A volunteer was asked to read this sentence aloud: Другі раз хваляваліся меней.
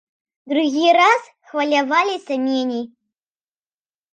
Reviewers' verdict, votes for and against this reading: accepted, 2, 0